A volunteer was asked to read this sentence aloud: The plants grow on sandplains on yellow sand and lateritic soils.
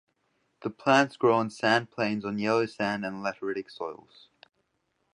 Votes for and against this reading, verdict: 2, 0, accepted